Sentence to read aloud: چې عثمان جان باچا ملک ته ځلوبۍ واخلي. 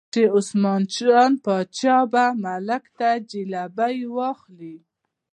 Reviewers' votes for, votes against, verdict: 1, 2, rejected